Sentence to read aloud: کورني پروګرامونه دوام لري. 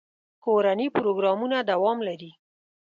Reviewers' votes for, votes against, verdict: 2, 0, accepted